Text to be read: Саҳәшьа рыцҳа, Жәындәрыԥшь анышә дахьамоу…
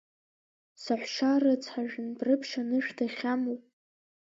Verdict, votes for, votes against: accepted, 2, 1